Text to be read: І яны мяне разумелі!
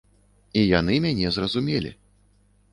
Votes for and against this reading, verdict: 1, 2, rejected